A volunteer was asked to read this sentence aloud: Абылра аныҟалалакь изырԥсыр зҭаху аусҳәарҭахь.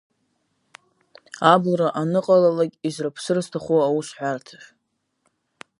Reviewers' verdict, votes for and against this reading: rejected, 1, 2